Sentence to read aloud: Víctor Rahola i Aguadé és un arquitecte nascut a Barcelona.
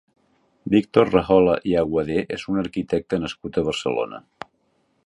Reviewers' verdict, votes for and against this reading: rejected, 1, 2